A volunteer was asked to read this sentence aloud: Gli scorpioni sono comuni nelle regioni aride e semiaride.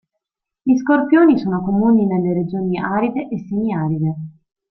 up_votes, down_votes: 2, 0